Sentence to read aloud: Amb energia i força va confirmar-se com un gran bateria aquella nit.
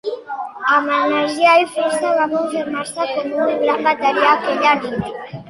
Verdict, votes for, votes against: rejected, 1, 2